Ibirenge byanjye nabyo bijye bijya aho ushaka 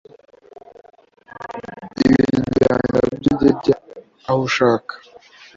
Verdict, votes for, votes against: rejected, 1, 2